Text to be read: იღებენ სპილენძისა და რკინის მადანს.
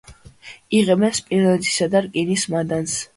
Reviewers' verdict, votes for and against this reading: accepted, 2, 0